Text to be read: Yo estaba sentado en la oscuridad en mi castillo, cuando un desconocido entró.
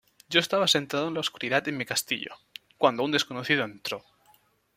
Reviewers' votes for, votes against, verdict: 2, 0, accepted